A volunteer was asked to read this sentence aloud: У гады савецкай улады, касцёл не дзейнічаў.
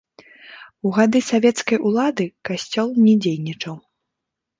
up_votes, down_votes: 2, 0